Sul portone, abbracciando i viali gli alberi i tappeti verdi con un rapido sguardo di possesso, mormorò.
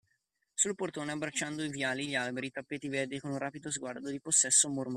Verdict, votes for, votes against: rejected, 0, 2